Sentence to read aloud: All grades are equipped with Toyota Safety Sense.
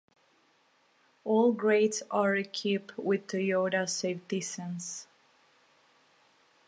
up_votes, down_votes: 1, 2